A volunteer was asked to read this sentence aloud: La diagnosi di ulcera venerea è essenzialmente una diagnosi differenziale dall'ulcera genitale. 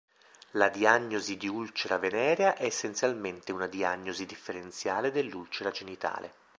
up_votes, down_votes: 0, 2